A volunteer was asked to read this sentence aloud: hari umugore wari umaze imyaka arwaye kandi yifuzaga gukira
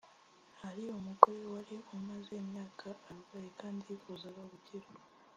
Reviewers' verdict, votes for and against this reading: rejected, 1, 2